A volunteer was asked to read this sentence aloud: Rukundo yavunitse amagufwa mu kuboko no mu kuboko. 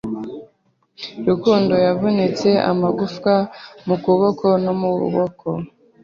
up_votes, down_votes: 0, 2